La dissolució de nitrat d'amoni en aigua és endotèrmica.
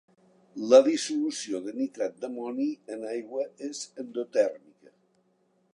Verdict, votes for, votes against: accepted, 2, 1